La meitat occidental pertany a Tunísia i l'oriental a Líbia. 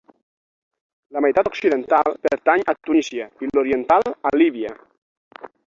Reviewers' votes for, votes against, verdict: 6, 12, rejected